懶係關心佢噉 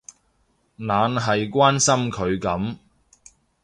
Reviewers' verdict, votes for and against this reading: accepted, 2, 0